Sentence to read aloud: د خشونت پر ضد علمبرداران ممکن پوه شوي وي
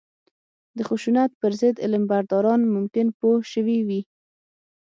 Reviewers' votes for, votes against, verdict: 6, 3, accepted